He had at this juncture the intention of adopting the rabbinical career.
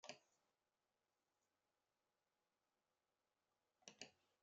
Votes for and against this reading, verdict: 0, 2, rejected